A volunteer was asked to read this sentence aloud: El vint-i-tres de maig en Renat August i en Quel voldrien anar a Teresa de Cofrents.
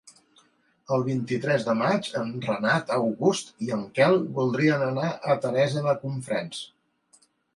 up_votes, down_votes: 1, 2